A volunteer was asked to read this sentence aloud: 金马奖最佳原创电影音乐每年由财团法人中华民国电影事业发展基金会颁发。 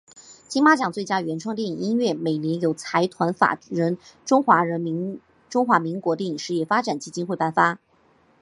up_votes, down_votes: 2, 0